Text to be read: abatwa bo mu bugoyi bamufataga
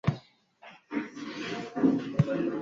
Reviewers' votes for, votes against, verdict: 2, 1, accepted